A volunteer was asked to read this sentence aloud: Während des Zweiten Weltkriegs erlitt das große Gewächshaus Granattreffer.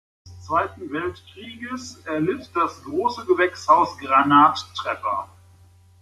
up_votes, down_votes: 0, 2